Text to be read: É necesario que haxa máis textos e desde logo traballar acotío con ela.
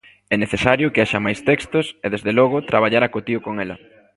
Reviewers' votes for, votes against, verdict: 2, 0, accepted